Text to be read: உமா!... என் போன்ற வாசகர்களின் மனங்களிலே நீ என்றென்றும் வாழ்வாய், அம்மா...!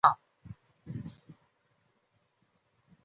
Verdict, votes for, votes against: rejected, 0, 2